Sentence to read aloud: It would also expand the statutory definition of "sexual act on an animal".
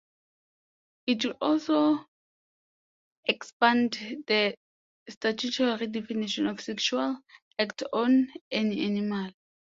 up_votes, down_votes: 2, 1